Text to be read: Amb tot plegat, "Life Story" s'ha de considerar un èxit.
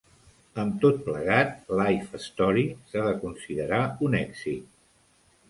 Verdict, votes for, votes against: accepted, 2, 0